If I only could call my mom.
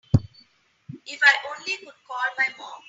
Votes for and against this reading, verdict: 2, 1, accepted